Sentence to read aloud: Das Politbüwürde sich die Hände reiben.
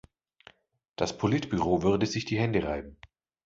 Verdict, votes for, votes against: rejected, 1, 2